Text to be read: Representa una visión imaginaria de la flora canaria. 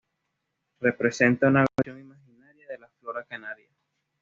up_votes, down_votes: 0, 2